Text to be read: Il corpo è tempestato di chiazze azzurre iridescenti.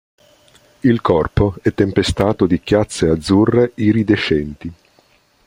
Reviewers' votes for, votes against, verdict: 2, 0, accepted